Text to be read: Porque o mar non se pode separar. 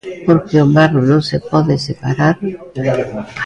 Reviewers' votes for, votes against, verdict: 1, 2, rejected